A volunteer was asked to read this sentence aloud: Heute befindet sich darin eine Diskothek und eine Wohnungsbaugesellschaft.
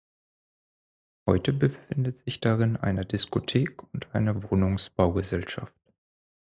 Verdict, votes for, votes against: rejected, 4, 6